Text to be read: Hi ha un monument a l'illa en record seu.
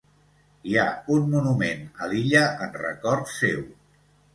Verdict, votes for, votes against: accepted, 2, 0